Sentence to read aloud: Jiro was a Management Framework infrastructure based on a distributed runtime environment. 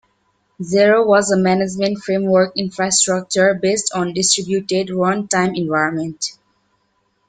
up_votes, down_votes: 0, 2